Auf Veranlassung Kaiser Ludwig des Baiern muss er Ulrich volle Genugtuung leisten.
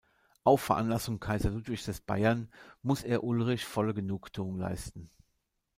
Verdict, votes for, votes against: accepted, 2, 0